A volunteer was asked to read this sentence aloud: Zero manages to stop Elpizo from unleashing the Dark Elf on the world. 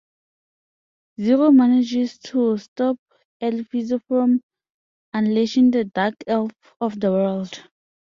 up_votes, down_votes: 0, 2